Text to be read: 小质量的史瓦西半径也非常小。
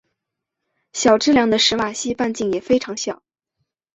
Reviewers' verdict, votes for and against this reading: accepted, 6, 0